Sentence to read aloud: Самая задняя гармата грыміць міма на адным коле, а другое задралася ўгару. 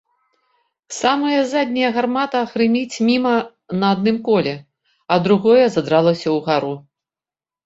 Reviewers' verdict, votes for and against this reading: accepted, 2, 0